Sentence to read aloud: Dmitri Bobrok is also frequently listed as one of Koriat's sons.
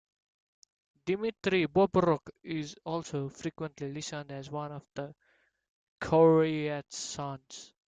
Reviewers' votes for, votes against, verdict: 1, 2, rejected